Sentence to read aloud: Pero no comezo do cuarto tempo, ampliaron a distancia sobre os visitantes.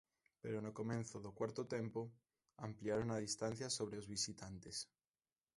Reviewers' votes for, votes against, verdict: 1, 2, rejected